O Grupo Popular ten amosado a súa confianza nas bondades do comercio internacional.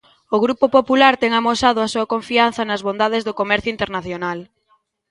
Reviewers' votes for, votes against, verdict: 2, 0, accepted